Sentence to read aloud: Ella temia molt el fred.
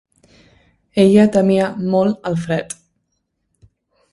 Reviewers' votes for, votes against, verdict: 2, 0, accepted